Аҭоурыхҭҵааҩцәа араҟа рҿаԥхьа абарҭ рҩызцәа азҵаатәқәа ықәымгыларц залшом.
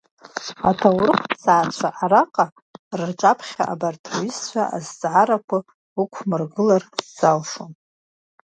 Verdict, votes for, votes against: rejected, 1, 2